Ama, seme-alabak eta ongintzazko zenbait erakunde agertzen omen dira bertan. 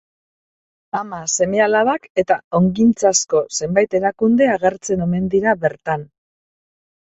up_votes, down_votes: 3, 0